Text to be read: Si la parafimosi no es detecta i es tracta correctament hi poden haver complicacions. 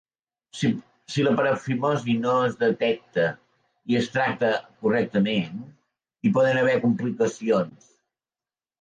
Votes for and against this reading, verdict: 0, 2, rejected